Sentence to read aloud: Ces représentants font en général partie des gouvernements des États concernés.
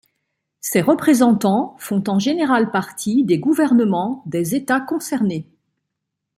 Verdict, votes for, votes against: accepted, 2, 0